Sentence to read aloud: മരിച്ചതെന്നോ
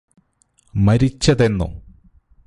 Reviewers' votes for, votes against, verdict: 2, 0, accepted